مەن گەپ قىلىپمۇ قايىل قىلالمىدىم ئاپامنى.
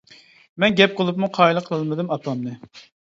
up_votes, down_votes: 0, 2